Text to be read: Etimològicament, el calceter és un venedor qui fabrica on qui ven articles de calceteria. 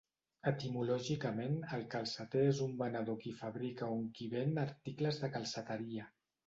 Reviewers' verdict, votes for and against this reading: accepted, 2, 0